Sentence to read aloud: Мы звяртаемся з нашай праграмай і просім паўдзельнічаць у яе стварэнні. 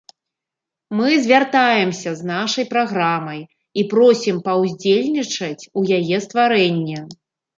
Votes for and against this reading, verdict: 2, 0, accepted